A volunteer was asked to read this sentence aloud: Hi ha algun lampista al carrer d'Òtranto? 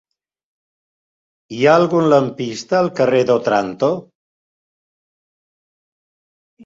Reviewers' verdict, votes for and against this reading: rejected, 1, 2